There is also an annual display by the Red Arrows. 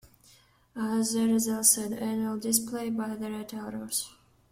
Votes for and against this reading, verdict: 1, 2, rejected